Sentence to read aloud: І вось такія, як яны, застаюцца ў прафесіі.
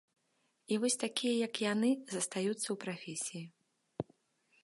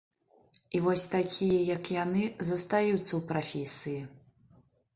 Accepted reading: first